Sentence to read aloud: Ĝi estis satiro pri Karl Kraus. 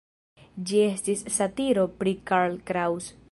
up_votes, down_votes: 1, 2